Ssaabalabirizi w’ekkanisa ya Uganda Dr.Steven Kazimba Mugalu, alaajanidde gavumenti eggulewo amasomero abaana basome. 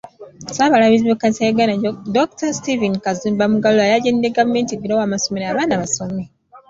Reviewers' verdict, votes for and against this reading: rejected, 1, 2